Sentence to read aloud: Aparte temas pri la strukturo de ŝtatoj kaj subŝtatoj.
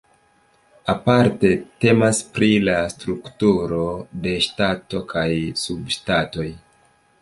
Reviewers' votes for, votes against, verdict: 0, 2, rejected